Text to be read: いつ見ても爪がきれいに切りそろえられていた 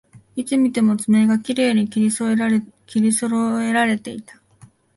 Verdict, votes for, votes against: rejected, 1, 2